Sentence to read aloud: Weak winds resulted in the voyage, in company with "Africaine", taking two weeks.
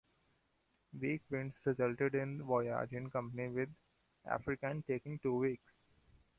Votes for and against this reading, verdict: 2, 1, accepted